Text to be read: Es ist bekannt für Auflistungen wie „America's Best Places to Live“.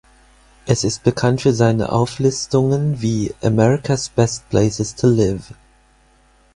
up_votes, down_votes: 0, 4